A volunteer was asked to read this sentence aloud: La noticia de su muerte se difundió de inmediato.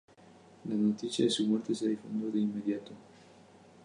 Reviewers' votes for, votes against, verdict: 4, 0, accepted